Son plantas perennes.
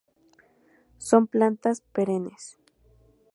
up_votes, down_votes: 2, 0